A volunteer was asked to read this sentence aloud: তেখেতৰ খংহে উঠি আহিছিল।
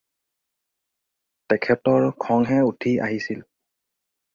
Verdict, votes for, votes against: accepted, 4, 0